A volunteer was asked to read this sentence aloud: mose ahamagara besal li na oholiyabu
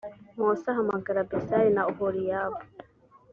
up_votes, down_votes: 3, 0